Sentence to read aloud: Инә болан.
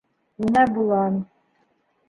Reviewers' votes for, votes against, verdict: 0, 2, rejected